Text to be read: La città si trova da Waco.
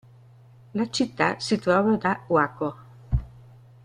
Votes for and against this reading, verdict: 2, 0, accepted